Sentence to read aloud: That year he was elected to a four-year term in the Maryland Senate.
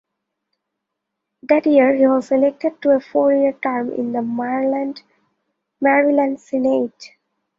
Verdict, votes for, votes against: rejected, 0, 2